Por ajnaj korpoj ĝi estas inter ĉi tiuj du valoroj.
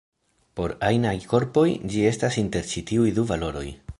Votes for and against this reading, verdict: 2, 0, accepted